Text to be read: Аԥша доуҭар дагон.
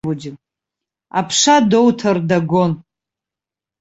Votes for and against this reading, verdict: 0, 2, rejected